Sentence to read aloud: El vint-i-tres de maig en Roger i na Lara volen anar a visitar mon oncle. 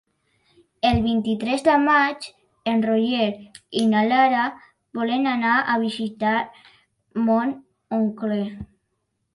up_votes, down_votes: 3, 0